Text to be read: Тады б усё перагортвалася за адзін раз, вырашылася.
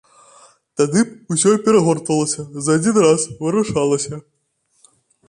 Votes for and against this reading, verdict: 0, 2, rejected